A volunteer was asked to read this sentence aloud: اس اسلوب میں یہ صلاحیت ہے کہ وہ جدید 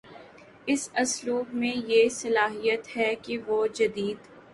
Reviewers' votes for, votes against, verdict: 2, 0, accepted